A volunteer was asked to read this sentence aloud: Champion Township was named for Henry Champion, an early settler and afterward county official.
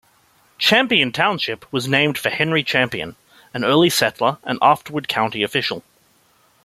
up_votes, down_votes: 2, 0